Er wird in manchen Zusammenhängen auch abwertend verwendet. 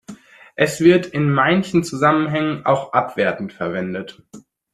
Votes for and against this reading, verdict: 0, 2, rejected